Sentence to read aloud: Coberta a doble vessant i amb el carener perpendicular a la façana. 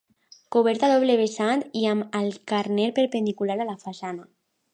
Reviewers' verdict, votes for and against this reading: rejected, 1, 2